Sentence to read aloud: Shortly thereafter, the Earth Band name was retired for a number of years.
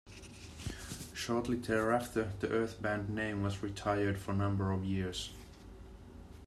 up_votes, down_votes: 2, 0